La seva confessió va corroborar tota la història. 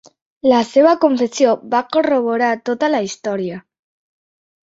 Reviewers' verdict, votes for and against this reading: accepted, 3, 0